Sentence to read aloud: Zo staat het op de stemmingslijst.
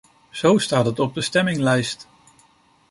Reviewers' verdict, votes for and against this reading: rejected, 1, 2